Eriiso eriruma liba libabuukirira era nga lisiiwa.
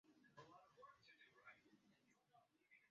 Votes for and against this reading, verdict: 0, 2, rejected